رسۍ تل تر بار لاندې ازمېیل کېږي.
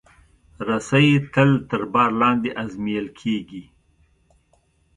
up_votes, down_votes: 2, 0